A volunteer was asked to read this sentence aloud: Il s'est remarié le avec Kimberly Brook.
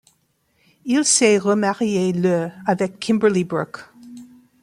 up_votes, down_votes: 2, 0